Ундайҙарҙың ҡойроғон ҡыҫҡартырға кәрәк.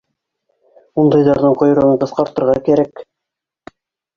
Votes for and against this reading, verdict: 0, 2, rejected